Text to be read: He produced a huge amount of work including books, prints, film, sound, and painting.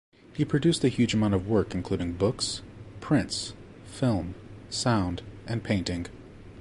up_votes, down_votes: 2, 0